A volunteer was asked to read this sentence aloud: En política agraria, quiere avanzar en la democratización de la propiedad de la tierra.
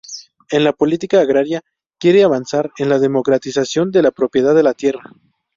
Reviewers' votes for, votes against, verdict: 0, 2, rejected